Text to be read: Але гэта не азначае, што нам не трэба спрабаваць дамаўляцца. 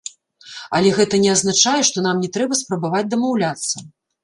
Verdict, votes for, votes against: rejected, 1, 2